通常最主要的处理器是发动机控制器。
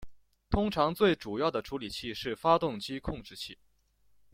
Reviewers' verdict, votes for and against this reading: accepted, 2, 0